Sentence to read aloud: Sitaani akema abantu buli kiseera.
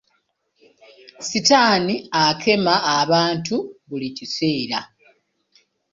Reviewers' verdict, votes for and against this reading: accepted, 2, 0